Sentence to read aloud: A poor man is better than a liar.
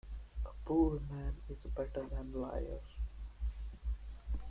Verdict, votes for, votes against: rejected, 0, 2